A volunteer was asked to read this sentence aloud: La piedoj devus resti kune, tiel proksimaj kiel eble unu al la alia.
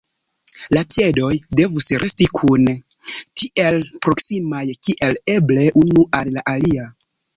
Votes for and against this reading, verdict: 0, 2, rejected